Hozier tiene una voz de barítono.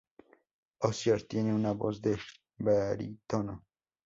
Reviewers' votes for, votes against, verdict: 4, 0, accepted